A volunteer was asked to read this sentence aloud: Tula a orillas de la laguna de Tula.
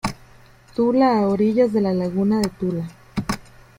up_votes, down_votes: 2, 1